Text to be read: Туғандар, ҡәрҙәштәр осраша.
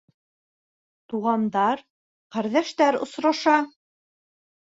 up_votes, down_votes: 2, 1